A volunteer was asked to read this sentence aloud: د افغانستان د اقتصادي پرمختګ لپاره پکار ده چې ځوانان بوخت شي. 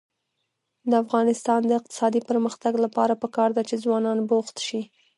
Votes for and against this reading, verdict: 1, 2, rejected